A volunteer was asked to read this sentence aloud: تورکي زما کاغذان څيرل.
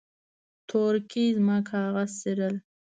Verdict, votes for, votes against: rejected, 1, 2